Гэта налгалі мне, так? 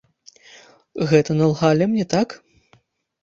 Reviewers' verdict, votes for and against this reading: accepted, 2, 0